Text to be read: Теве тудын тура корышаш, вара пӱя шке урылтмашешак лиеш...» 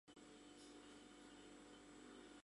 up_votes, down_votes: 1, 2